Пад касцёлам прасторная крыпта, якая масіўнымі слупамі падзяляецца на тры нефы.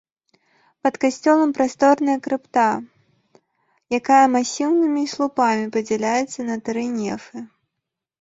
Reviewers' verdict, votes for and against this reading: rejected, 2, 3